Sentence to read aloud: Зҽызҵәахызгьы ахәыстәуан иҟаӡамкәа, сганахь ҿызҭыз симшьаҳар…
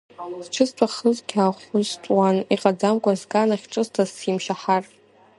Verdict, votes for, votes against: rejected, 1, 2